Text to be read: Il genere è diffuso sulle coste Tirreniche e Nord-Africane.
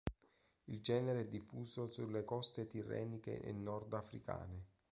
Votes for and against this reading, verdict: 2, 0, accepted